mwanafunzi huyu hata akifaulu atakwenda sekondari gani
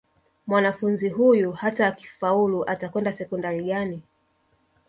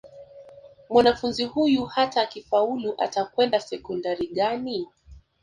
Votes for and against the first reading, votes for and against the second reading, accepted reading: 0, 2, 3, 0, second